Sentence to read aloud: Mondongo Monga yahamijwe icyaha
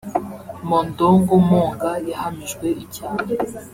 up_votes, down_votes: 0, 2